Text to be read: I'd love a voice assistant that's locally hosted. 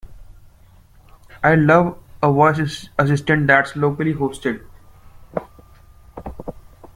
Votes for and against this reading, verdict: 2, 0, accepted